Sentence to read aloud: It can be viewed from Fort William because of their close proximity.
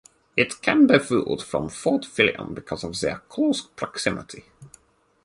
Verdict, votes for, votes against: rejected, 2, 4